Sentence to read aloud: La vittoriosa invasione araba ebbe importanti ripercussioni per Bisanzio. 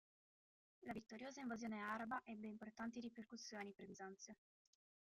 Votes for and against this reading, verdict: 1, 2, rejected